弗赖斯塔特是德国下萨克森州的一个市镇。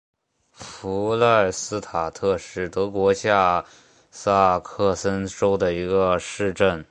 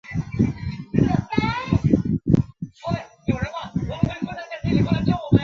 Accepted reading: first